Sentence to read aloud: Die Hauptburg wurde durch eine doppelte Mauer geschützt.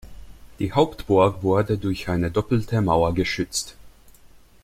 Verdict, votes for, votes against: accepted, 2, 0